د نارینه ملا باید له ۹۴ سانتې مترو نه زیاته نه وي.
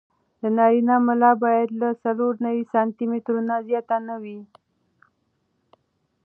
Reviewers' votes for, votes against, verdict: 0, 2, rejected